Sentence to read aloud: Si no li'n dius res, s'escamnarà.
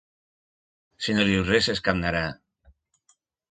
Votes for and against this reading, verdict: 1, 5, rejected